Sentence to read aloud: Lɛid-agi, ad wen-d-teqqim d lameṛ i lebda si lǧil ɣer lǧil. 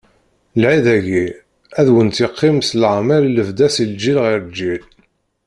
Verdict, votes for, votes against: rejected, 1, 2